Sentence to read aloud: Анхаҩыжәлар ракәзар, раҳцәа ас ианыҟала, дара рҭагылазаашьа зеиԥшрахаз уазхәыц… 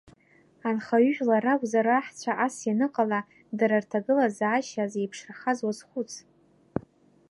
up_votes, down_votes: 0, 2